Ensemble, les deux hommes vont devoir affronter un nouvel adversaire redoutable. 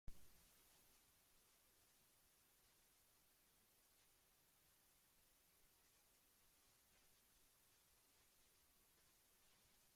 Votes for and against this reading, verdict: 0, 2, rejected